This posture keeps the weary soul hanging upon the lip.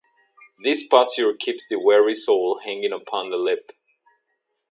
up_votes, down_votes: 2, 0